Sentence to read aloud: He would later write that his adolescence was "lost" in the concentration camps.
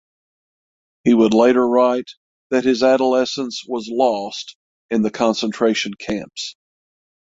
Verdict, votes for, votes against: accepted, 6, 0